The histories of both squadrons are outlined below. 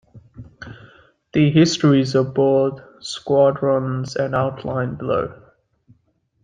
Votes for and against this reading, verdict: 2, 1, accepted